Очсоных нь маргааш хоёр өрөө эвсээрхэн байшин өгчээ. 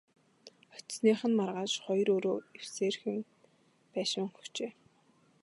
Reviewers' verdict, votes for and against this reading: accepted, 3, 0